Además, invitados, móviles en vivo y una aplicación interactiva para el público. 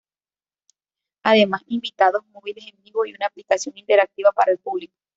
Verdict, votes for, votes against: rejected, 0, 2